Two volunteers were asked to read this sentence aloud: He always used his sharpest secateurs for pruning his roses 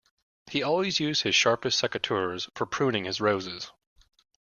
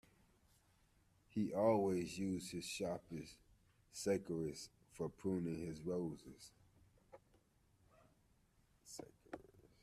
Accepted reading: first